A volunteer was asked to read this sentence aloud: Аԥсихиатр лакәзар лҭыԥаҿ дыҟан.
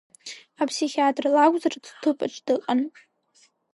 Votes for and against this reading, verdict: 2, 0, accepted